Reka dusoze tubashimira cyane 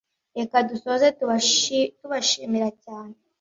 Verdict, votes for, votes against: rejected, 1, 2